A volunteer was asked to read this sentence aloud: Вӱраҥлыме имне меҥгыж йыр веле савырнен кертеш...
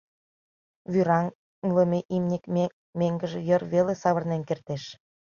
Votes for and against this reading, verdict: 0, 2, rejected